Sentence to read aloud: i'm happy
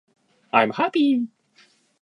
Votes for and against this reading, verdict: 2, 0, accepted